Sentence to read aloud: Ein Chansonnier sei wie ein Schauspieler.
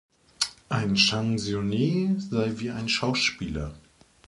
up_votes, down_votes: 0, 2